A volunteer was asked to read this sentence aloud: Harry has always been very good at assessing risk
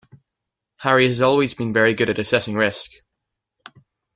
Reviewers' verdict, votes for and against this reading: accepted, 2, 0